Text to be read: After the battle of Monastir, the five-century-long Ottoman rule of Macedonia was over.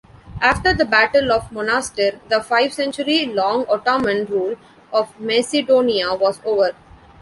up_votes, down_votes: 0, 2